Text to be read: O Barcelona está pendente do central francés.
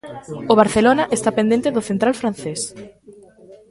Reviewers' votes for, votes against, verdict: 2, 0, accepted